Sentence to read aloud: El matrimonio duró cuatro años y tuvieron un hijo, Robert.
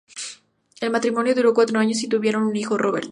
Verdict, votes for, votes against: accepted, 2, 0